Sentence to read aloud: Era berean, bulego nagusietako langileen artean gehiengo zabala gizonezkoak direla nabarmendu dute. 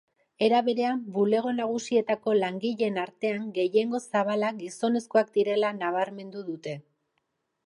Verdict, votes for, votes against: accepted, 2, 0